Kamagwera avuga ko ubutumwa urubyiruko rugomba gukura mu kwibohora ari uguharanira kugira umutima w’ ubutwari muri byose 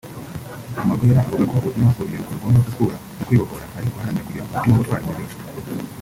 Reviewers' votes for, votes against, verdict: 0, 2, rejected